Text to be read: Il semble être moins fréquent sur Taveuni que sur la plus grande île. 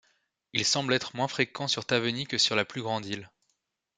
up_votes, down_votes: 2, 0